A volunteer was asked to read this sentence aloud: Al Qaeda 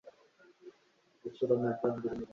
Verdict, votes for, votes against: rejected, 1, 3